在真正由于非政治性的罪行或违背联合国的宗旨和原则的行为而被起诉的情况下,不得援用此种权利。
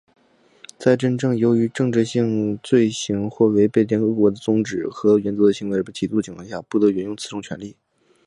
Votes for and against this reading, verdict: 2, 0, accepted